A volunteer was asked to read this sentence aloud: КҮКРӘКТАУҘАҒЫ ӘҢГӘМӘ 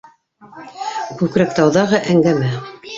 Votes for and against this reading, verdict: 2, 3, rejected